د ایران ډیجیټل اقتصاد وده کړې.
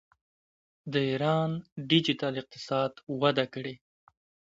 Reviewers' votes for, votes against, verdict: 2, 0, accepted